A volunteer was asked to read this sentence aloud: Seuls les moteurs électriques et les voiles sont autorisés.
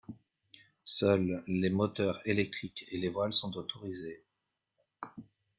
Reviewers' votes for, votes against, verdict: 3, 1, accepted